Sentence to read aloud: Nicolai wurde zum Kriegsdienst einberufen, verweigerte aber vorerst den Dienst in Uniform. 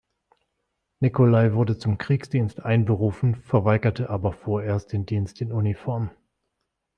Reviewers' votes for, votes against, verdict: 2, 0, accepted